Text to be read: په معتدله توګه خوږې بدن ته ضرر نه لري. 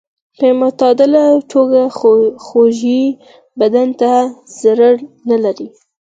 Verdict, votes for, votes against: rejected, 0, 4